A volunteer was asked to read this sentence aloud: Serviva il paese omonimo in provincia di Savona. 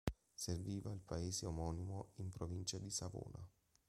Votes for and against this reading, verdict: 2, 0, accepted